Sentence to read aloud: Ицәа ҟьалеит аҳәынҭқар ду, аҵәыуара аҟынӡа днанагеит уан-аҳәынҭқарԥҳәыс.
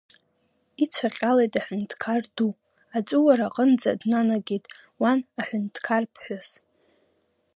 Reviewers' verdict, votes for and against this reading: rejected, 0, 2